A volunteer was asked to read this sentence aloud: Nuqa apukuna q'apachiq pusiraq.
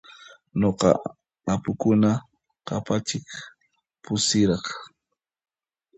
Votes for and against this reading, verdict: 0, 2, rejected